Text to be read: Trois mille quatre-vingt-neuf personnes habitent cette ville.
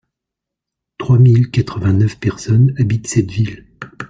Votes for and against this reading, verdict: 2, 0, accepted